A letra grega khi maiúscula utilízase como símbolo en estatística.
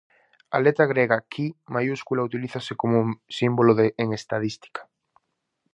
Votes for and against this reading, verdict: 0, 4, rejected